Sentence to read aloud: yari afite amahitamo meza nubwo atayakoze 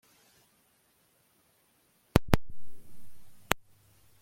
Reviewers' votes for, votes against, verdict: 1, 2, rejected